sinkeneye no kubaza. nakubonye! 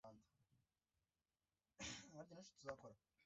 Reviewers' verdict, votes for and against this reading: rejected, 0, 2